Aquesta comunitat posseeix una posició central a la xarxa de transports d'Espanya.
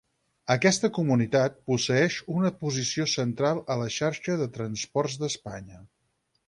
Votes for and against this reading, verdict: 2, 4, rejected